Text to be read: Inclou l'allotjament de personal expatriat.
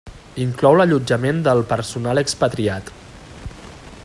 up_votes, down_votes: 1, 2